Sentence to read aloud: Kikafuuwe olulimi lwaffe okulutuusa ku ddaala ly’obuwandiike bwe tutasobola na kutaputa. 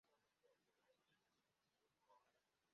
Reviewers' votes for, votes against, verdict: 0, 2, rejected